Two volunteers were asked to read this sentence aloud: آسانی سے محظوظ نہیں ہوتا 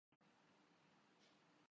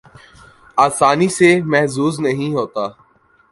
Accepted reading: second